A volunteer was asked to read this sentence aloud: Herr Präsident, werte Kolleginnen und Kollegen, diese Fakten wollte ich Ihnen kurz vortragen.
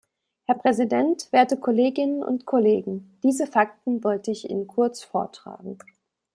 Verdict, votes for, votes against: accepted, 2, 1